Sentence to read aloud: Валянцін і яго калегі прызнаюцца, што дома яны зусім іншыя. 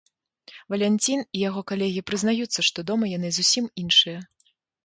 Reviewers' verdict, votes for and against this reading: accepted, 3, 0